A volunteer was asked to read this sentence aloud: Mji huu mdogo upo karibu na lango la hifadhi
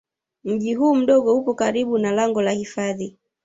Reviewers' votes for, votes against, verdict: 1, 2, rejected